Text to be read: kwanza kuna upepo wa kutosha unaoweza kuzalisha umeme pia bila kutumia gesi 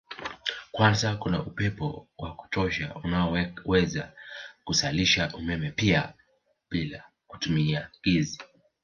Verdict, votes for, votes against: rejected, 1, 2